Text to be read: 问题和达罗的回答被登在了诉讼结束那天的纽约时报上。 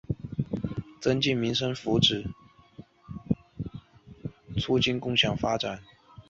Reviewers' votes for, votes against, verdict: 0, 3, rejected